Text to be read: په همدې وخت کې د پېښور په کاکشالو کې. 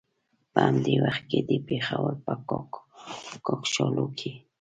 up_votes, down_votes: 0, 2